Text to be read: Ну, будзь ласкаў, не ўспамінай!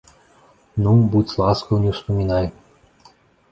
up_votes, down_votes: 2, 0